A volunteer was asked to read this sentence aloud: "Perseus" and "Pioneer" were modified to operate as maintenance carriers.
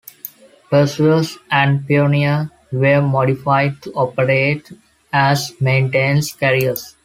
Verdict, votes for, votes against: accepted, 2, 0